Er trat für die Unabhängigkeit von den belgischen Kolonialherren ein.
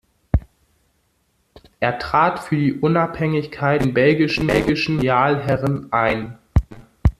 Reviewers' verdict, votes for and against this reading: rejected, 0, 2